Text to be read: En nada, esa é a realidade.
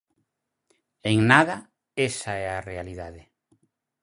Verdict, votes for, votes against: accepted, 4, 0